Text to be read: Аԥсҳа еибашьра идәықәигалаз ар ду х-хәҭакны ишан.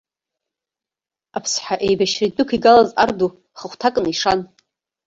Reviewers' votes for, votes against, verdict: 0, 2, rejected